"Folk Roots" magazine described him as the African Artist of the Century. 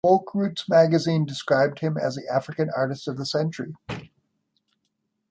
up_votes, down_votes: 2, 0